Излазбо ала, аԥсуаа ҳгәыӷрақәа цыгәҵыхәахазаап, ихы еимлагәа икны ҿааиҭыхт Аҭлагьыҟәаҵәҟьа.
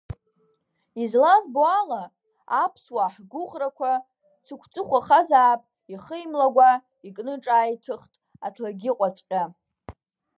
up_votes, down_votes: 0, 2